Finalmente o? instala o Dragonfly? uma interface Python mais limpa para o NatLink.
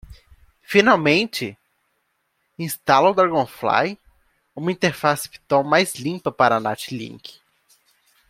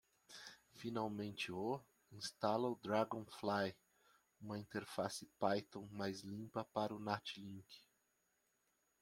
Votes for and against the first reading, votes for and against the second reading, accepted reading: 0, 2, 2, 0, second